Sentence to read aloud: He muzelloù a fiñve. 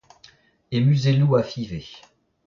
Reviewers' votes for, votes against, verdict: 0, 2, rejected